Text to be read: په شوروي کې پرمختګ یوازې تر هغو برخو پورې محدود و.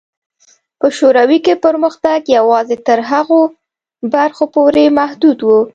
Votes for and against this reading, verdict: 2, 0, accepted